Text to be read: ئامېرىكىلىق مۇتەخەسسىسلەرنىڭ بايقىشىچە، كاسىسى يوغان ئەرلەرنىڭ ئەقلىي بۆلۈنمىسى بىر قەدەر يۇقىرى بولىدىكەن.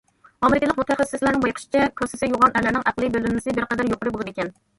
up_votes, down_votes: 1, 2